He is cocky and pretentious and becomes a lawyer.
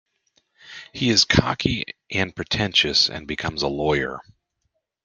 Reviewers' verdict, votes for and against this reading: accepted, 2, 0